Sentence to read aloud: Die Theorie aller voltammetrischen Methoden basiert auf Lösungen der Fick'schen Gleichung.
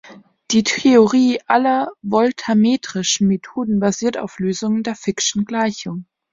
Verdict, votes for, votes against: accepted, 2, 1